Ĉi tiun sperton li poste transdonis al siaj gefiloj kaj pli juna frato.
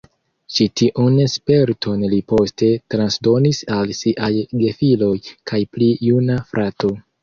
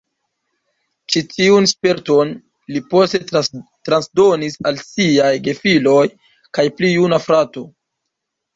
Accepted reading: first